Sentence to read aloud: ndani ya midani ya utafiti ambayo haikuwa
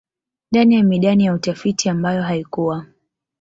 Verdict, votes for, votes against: accepted, 2, 0